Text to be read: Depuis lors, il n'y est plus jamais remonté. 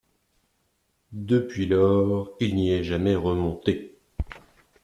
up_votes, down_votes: 1, 2